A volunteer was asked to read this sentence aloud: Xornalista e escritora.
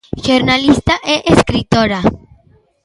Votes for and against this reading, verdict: 2, 1, accepted